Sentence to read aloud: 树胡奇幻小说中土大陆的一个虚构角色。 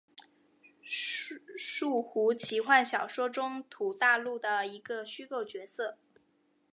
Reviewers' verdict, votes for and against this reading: accepted, 3, 0